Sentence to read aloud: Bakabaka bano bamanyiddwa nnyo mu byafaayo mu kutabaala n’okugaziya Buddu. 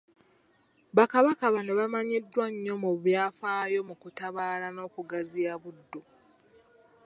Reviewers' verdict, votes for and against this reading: accepted, 2, 0